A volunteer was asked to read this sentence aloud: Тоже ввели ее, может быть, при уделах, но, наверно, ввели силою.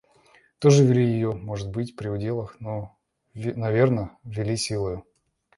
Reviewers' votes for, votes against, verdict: 2, 0, accepted